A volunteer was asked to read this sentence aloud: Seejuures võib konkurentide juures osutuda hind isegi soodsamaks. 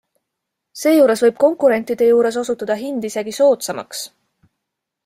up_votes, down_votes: 2, 0